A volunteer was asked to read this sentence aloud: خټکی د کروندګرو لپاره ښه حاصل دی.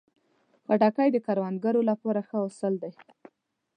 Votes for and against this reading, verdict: 2, 0, accepted